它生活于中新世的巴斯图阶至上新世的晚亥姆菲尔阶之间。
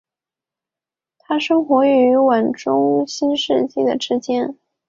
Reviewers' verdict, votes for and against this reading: rejected, 0, 3